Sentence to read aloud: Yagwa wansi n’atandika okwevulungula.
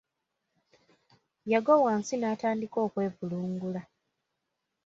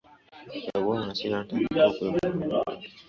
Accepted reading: first